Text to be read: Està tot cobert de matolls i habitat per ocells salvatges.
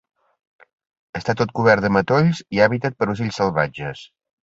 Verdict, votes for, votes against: rejected, 0, 2